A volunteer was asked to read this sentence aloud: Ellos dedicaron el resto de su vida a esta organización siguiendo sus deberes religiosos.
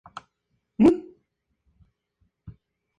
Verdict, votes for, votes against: rejected, 0, 2